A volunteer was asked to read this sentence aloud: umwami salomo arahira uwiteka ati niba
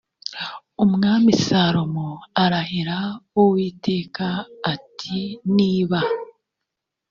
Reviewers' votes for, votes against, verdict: 2, 0, accepted